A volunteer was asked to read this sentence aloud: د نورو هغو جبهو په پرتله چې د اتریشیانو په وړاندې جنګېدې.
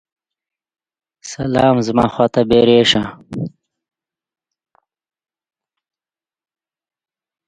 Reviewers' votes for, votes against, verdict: 0, 2, rejected